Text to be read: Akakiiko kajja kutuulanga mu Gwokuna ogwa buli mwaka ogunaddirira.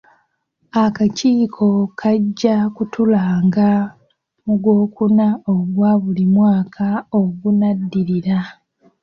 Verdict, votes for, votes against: rejected, 1, 2